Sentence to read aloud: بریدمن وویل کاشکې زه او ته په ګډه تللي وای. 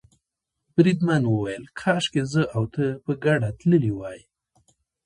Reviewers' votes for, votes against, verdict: 1, 2, rejected